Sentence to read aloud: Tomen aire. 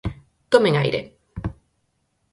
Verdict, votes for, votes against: accepted, 4, 2